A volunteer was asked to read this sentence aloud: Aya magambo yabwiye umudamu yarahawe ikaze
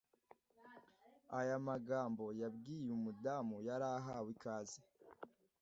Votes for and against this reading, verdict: 2, 0, accepted